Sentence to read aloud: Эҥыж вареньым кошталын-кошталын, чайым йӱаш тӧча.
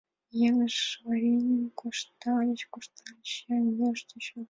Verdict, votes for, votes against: rejected, 0, 2